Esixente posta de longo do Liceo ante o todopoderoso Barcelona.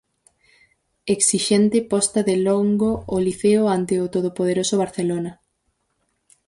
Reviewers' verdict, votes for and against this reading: rejected, 0, 4